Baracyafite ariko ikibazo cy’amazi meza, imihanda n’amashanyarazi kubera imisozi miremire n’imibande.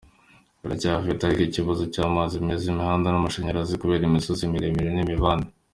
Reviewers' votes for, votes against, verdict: 2, 1, accepted